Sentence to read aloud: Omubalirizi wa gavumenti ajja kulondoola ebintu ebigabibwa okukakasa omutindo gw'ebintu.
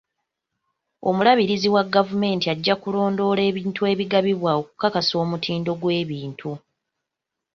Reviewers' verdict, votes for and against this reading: accepted, 2, 1